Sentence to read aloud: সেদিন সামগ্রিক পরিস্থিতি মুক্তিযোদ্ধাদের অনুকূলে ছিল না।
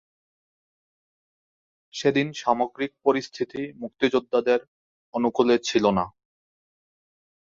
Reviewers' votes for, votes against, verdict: 6, 2, accepted